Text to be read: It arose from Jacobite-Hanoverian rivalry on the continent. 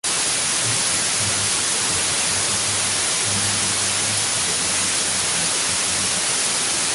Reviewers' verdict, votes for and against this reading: rejected, 1, 2